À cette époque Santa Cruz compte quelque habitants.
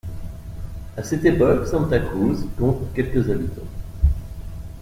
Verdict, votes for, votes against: rejected, 1, 2